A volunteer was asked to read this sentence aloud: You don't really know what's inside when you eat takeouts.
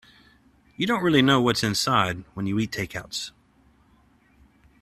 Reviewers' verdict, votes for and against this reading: accepted, 2, 0